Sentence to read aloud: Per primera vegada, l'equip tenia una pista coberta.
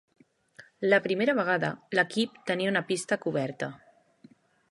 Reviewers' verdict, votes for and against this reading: rejected, 0, 2